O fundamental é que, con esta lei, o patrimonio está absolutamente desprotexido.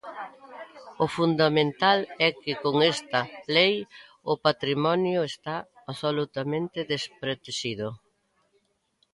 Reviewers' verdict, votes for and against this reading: accepted, 2, 0